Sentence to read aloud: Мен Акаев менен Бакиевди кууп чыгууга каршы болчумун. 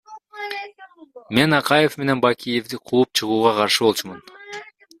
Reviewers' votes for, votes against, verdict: 1, 2, rejected